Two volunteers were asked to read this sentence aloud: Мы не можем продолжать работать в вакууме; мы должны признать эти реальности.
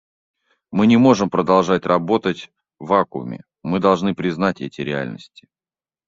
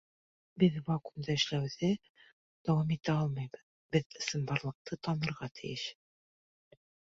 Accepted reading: first